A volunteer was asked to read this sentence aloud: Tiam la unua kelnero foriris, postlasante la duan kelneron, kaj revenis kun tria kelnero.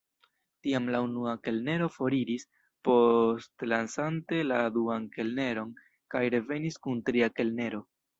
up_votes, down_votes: 1, 2